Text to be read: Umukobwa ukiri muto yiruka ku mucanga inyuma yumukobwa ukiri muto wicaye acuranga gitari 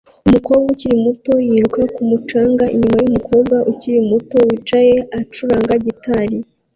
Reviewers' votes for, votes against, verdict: 2, 1, accepted